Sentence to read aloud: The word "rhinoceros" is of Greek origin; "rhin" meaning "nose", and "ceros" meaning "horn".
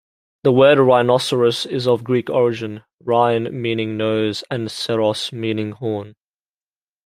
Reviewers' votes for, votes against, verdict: 2, 0, accepted